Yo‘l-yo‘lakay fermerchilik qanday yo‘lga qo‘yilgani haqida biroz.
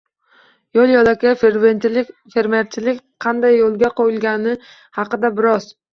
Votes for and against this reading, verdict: 1, 2, rejected